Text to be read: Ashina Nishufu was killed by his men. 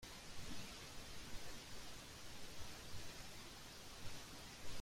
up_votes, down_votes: 0, 2